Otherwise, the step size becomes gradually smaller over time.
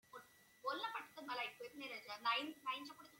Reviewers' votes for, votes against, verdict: 0, 2, rejected